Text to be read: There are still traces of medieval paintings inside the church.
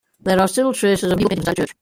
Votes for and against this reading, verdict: 0, 2, rejected